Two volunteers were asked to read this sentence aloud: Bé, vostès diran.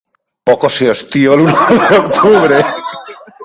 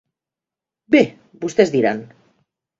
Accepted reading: second